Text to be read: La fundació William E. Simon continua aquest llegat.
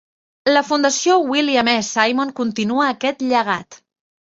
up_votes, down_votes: 2, 0